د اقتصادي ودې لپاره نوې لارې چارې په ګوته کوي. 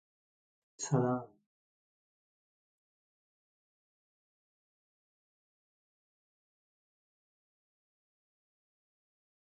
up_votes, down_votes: 0, 2